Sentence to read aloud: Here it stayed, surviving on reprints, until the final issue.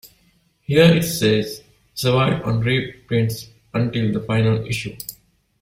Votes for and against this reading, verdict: 0, 3, rejected